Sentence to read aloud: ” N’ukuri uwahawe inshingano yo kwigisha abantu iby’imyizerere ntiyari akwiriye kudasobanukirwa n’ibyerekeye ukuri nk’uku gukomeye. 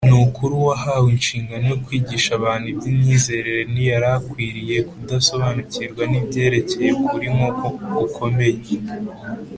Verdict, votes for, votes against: accepted, 2, 0